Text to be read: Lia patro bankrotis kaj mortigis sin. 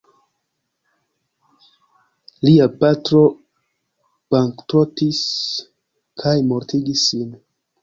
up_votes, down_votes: 0, 2